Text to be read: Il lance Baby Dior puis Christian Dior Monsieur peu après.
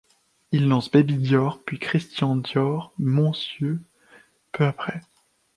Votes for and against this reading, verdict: 1, 3, rejected